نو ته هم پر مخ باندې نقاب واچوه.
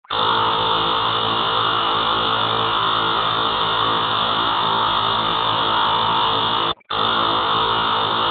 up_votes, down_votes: 1, 2